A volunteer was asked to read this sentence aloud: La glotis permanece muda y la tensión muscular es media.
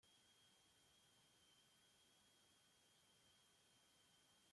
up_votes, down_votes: 0, 2